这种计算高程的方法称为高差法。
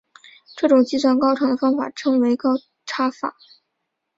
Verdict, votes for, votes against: accepted, 3, 0